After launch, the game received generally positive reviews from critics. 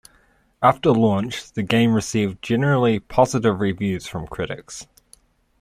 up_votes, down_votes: 2, 0